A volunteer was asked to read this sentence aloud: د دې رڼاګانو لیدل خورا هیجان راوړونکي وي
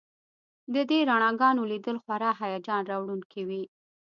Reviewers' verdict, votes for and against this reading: accepted, 2, 0